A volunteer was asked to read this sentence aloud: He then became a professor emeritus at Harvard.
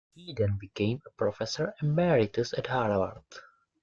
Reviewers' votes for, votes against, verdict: 2, 0, accepted